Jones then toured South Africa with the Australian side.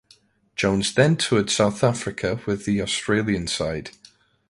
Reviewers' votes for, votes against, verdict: 2, 0, accepted